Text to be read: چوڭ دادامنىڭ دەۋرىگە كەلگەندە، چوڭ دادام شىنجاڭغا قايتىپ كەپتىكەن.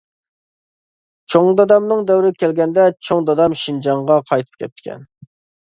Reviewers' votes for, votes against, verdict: 2, 0, accepted